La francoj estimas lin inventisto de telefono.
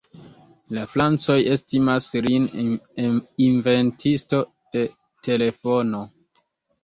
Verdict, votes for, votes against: rejected, 1, 2